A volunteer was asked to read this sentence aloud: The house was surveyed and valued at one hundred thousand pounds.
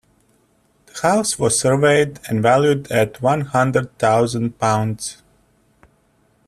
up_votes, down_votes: 2, 0